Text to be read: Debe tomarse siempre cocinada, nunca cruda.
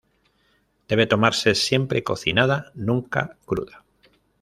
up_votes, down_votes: 2, 0